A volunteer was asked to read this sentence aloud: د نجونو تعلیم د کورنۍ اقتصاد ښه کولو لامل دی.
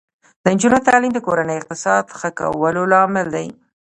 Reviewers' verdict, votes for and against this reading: rejected, 0, 2